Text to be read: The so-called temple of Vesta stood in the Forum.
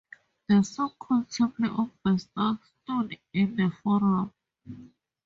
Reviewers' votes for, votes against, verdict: 0, 2, rejected